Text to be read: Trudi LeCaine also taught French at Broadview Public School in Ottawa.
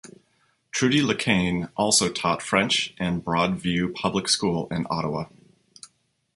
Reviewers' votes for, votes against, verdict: 0, 2, rejected